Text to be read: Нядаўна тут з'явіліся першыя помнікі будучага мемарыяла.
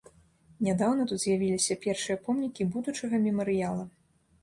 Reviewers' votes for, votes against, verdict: 3, 0, accepted